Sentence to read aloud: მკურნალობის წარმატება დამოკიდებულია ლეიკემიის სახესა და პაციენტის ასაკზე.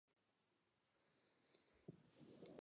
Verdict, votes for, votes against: rejected, 1, 2